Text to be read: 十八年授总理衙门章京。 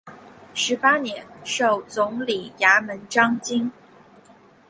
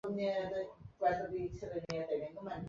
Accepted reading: first